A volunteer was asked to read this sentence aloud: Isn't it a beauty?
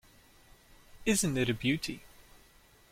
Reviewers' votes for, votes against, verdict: 2, 0, accepted